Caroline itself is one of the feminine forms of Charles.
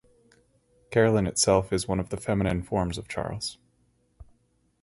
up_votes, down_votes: 4, 0